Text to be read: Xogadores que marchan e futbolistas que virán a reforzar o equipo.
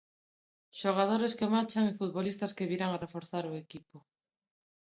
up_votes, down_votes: 1, 2